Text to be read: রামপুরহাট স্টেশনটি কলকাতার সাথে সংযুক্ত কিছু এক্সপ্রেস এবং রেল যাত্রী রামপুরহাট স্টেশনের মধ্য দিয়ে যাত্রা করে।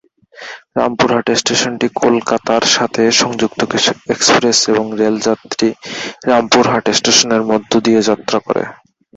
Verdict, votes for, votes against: rejected, 4, 6